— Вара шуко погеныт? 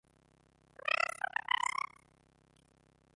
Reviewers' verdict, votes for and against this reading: rejected, 0, 2